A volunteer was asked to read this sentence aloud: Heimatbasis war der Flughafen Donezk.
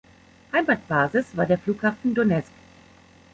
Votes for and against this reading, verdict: 2, 0, accepted